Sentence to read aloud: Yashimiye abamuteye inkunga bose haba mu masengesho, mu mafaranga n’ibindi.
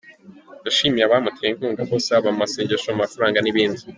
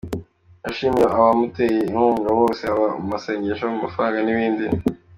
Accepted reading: second